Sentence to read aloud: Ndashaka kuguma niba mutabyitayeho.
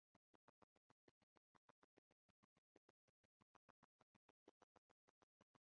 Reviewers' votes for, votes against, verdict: 1, 2, rejected